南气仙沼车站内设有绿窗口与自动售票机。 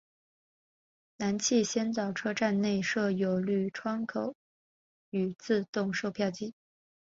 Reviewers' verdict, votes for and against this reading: accepted, 3, 1